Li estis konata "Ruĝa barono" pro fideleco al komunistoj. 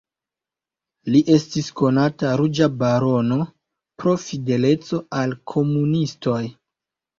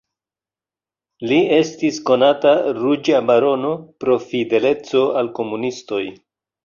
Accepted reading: second